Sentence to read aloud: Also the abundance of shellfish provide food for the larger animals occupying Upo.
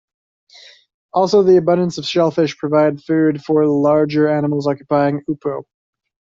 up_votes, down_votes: 2, 0